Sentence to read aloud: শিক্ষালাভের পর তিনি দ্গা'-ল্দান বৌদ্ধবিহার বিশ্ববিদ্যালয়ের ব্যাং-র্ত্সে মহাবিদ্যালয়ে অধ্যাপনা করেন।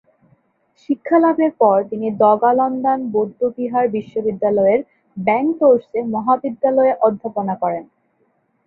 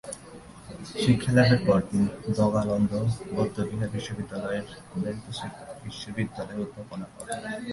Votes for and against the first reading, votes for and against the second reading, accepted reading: 2, 0, 0, 2, first